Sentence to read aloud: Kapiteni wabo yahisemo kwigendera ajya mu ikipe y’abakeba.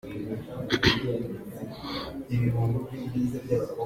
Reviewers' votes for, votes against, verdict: 0, 2, rejected